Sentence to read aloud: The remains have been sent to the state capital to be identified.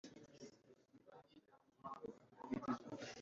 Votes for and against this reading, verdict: 0, 2, rejected